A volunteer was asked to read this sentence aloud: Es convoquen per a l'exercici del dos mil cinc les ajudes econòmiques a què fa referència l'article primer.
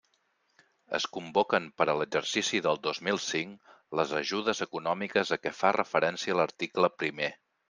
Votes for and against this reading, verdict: 3, 1, accepted